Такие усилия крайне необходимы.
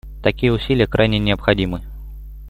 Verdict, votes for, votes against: accepted, 2, 0